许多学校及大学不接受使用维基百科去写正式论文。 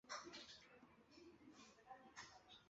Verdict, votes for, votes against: rejected, 0, 3